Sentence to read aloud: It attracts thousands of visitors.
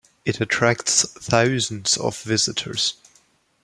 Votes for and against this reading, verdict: 2, 0, accepted